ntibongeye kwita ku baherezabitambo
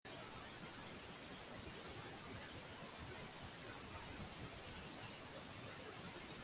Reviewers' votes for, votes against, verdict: 1, 2, rejected